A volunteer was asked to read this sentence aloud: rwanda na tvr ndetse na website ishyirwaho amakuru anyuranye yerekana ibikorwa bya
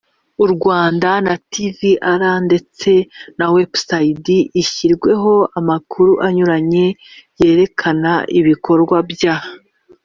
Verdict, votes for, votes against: rejected, 0, 2